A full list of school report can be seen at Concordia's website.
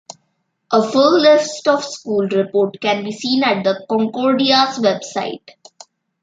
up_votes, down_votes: 1, 2